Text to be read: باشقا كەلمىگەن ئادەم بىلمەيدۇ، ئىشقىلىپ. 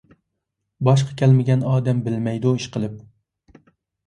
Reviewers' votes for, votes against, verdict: 2, 0, accepted